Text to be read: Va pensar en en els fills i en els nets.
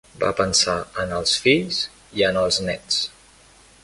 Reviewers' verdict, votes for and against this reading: accepted, 3, 0